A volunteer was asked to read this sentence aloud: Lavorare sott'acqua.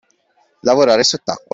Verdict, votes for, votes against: accepted, 2, 0